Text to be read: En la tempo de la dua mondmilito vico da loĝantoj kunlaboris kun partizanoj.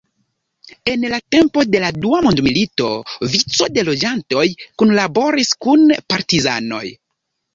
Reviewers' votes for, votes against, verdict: 0, 2, rejected